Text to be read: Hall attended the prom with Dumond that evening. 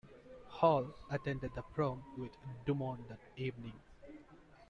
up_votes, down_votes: 2, 0